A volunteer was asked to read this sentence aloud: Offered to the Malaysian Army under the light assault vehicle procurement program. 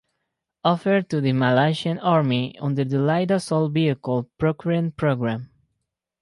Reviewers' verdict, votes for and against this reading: accepted, 4, 0